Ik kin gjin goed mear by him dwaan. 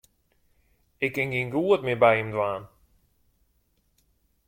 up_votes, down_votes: 2, 0